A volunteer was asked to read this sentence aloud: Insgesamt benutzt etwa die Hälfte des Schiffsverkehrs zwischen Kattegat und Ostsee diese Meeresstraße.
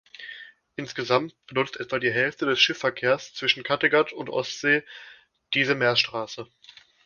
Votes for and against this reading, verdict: 1, 2, rejected